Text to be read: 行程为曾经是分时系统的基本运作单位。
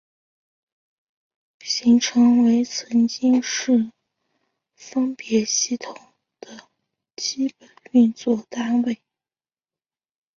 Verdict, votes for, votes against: rejected, 2, 3